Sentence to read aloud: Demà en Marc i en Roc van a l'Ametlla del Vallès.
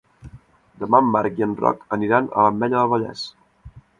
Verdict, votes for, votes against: rejected, 0, 2